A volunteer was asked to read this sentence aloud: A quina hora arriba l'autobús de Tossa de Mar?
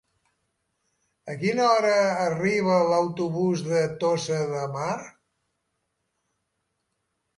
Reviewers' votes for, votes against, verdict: 3, 1, accepted